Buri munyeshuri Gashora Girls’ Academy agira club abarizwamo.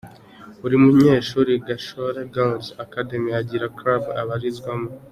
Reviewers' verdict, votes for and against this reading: accepted, 2, 0